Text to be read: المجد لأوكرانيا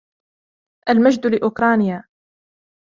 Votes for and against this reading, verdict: 2, 0, accepted